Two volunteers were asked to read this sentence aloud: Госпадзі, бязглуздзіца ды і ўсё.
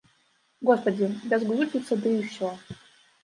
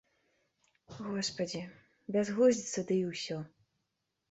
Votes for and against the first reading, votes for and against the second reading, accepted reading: 0, 2, 2, 0, second